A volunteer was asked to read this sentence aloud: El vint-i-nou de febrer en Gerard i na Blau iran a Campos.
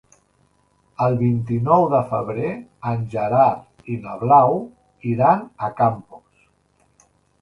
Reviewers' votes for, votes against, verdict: 3, 0, accepted